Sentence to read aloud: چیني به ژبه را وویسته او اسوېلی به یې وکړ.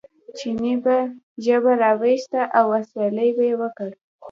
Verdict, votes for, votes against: rejected, 1, 2